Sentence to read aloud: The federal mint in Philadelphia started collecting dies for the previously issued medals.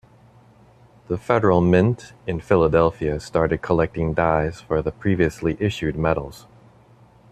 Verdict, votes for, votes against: rejected, 1, 2